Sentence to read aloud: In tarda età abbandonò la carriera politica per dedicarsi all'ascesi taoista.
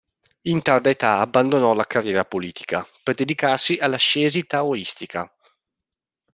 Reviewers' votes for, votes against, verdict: 0, 2, rejected